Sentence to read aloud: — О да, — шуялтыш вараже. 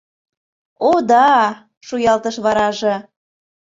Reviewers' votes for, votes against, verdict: 2, 0, accepted